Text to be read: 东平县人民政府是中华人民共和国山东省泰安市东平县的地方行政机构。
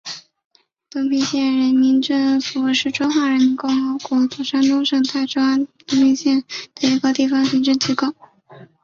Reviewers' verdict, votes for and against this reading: rejected, 1, 2